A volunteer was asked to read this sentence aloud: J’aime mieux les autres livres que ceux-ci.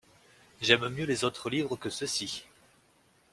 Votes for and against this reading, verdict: 2, 0, accepted